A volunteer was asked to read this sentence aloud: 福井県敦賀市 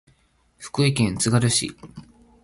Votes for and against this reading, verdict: 1, 2, rejected